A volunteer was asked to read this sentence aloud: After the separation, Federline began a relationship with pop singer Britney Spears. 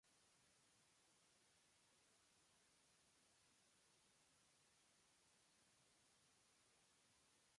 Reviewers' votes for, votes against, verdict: 0, 2, rejected